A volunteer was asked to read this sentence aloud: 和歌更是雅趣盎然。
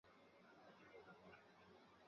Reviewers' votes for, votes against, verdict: 0, 4, rejected